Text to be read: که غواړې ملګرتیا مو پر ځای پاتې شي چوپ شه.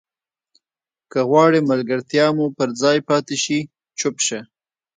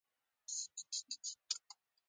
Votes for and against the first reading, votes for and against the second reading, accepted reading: 2, 0, 0, 2, first